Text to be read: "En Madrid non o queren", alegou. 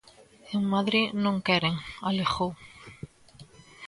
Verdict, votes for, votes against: rejected, 0, 2